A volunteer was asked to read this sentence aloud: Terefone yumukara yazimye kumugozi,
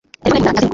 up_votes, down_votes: 0, 2